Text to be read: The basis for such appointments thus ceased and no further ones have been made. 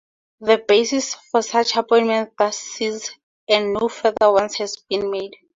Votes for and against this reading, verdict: 2, 4, rejected